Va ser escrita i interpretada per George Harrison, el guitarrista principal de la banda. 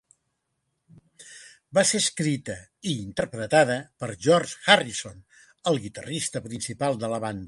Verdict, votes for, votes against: accepted, 3, 0